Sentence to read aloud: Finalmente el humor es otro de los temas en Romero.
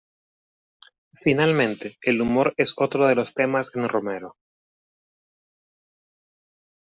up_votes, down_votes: 1, 2